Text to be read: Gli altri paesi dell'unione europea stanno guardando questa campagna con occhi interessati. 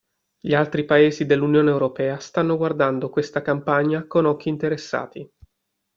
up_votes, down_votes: 2, 0